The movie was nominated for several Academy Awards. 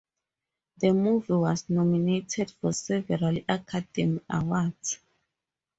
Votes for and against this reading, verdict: 4, 0, accepted